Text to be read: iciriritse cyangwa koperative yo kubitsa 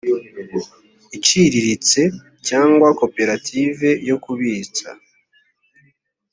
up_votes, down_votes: 2, 0